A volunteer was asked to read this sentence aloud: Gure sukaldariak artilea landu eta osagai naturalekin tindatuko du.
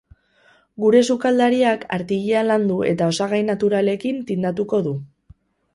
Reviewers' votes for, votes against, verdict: 0, 2, rejected